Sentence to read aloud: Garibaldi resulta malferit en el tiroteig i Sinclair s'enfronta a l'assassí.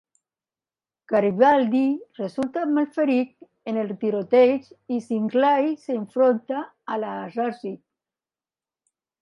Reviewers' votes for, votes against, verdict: 3, 2, accepted